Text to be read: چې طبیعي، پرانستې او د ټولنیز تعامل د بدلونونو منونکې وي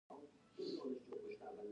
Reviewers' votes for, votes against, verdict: 1, 2, rejected